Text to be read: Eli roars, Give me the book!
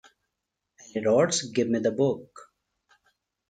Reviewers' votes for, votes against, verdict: 1, 2, rejected